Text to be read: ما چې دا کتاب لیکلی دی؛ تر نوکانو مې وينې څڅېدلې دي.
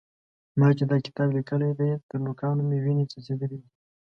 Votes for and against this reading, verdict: 2, 0, accepted